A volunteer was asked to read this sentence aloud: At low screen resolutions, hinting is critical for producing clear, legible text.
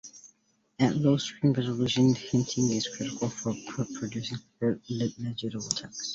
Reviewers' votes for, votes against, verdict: 2, 1, accepted